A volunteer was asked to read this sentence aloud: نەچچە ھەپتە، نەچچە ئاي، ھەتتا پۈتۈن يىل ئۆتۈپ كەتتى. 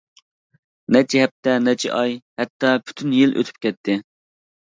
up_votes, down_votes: 2, 0